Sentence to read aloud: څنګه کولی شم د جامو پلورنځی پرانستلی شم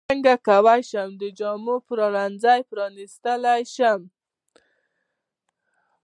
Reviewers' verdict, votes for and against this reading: accepted, 2, 0